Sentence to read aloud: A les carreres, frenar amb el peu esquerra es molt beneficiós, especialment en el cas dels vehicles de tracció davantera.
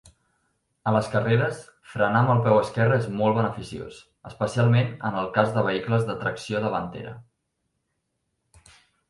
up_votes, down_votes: 1, 2